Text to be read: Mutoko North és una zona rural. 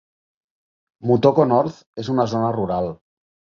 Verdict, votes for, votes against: accepted, 2, 0